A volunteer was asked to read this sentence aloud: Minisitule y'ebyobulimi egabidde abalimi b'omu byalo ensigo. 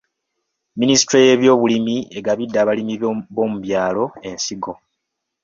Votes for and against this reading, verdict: 2, 1, accepted